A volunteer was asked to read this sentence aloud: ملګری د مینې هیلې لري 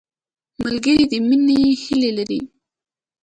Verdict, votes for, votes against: accepted, 3, 0